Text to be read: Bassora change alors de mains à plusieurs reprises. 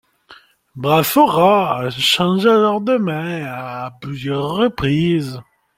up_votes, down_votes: 1, 2